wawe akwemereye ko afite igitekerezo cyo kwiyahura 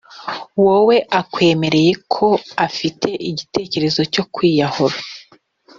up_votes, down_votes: 0, 2